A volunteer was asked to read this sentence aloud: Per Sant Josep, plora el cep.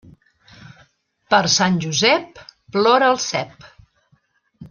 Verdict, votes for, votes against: accepted, 3, 0